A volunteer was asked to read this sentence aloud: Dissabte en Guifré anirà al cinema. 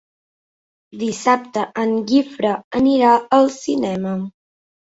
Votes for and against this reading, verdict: 0, 2, rejected